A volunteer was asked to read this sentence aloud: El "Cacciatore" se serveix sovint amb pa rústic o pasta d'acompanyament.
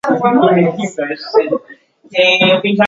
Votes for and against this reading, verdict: 0, 2, rejected